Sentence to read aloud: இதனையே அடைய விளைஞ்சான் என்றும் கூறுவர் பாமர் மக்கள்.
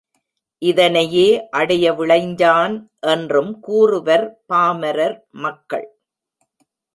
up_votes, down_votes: 1, 2